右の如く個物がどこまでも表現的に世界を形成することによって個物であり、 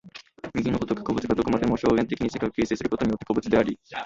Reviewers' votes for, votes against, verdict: 0, 2, rejected